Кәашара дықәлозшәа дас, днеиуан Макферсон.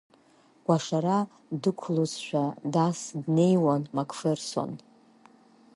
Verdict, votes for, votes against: rejected, 3, 4